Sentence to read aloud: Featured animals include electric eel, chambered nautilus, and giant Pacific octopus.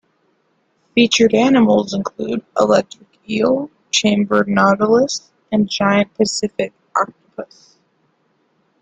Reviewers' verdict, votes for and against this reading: accepted, 2, 1